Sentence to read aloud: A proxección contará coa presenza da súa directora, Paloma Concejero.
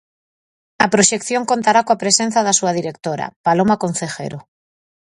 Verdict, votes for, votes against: accepted, 4, 0